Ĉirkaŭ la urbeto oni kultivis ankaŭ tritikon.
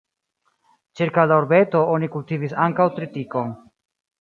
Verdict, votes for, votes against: rejected, 0, 2